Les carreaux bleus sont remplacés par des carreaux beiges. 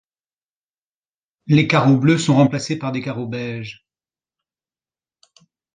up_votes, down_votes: 2, 0